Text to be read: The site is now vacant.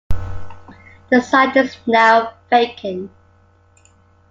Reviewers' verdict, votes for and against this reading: accepted, 2, 1